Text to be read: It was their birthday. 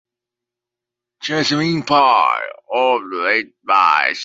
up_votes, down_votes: 1, 2